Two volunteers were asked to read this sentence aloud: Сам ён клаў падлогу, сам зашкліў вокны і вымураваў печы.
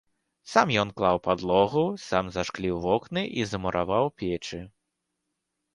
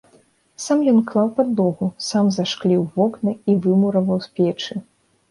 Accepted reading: second